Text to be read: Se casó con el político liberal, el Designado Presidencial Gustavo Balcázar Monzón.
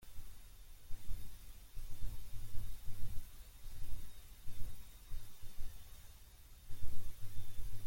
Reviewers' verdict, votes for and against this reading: rejected, 0, 2